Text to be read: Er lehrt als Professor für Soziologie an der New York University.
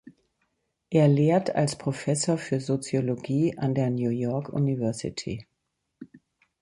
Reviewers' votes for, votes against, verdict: 2, 0, accepted